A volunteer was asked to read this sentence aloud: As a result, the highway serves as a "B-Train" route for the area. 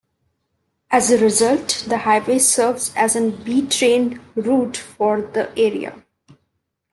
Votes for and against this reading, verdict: 2, 0, accepted